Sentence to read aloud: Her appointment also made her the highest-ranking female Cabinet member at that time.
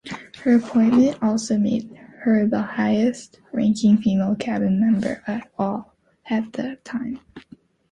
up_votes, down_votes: 0, 2